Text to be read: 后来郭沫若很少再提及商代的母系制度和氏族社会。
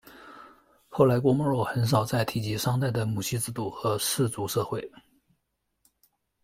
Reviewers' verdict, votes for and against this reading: accepted, 2, 0